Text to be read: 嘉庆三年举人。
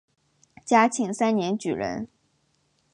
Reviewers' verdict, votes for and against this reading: accepted, 2, 0